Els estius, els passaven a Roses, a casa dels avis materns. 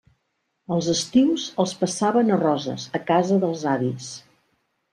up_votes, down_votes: 0, 2